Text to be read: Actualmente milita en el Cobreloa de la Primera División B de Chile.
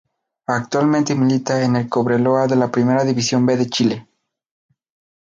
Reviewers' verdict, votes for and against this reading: rejected, 0, 2